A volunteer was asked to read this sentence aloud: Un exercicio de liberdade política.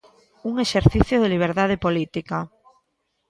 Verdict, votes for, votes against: rejected, 1, 2